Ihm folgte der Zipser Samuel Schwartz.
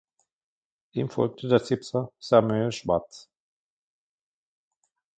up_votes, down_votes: 2, 1